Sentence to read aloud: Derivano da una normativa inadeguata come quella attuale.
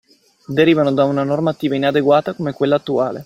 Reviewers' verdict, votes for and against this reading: accepted, 2, 0